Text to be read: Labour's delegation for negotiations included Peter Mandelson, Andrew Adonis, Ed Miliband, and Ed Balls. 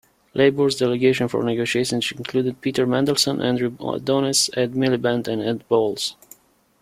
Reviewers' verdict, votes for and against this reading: rejected, 0, 2